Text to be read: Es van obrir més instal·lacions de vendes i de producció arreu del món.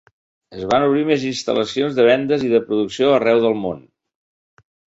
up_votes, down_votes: 3, 1